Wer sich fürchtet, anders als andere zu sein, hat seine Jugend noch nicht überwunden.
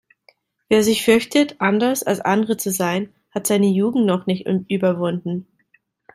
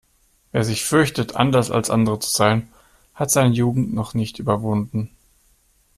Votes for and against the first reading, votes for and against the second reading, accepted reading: 1, 2, 2, 0, second